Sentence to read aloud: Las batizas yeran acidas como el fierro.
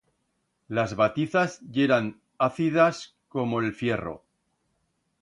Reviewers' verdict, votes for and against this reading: rejected, 1, 2